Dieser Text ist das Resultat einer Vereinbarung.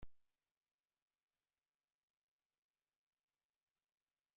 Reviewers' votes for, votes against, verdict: 0, 2, rejected